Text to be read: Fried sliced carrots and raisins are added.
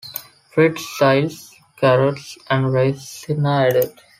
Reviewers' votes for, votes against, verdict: 0, 4, rejected